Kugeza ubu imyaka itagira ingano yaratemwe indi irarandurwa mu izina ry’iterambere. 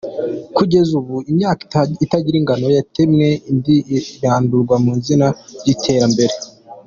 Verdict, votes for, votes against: rejected, 1, 2